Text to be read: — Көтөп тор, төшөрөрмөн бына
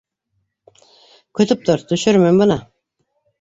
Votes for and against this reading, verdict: 0, 2, rejected